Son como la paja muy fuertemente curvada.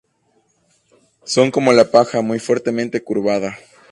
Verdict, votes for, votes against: accepted, 6, 0